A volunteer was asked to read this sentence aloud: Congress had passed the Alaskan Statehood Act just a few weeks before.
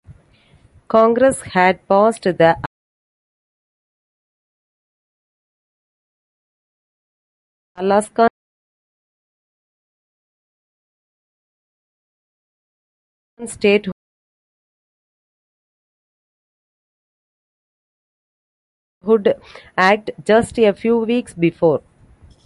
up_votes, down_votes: 0, 2